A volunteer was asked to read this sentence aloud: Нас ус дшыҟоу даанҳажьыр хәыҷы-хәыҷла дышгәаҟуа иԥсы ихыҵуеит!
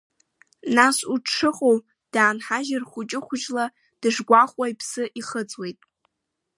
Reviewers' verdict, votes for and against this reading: rejected, 1, 2